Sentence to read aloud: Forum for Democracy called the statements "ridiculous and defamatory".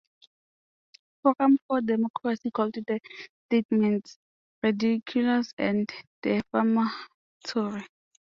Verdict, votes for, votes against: accepted, 2, 0